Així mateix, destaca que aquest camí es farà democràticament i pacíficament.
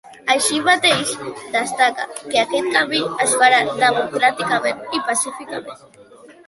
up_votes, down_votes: 2, 0